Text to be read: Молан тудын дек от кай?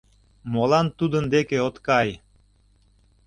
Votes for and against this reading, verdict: 2, 0, accepted